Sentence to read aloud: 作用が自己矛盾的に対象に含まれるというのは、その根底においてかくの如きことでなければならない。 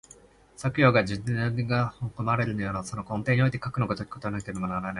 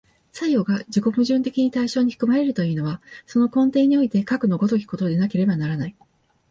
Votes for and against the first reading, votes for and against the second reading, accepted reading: 1, 2, 2, 0, second